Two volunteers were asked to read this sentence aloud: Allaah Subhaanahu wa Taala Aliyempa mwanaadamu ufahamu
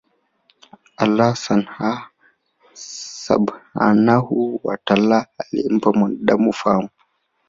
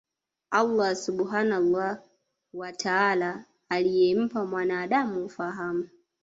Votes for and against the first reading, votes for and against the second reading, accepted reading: 2, 0, 1, 2, first